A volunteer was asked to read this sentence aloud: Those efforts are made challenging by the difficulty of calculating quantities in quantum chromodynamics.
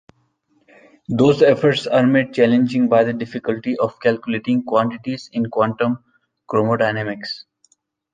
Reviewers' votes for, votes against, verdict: 2, 0, accepted